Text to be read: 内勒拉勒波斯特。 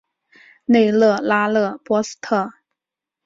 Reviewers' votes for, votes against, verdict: 6, 1, accepted